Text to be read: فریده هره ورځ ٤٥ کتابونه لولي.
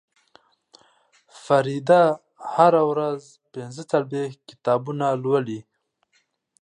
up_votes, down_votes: 0, 2